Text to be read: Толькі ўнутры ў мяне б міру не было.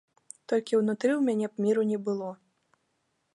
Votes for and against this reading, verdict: 2, 0, accepted